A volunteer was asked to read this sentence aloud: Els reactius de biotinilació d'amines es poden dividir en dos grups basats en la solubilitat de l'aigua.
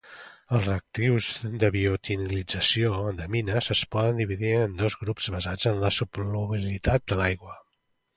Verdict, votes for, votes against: rejected, 0, 2